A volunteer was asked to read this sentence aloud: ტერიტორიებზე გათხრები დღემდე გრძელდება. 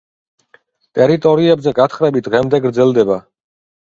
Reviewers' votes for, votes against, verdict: 2, 0, accepted